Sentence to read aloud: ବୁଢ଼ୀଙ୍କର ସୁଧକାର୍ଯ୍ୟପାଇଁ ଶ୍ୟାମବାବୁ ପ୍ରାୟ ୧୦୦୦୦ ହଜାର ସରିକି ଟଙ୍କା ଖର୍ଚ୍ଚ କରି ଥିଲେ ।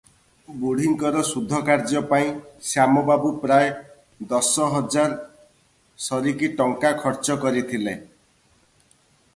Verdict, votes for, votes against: rejected, 0, 2